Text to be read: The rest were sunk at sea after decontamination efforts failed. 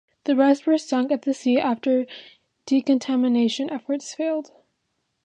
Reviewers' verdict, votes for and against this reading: accepted, 2, 1